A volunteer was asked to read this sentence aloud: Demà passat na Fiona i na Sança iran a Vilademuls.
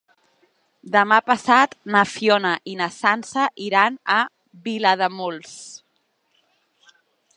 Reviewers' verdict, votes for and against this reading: accepted, 3, 0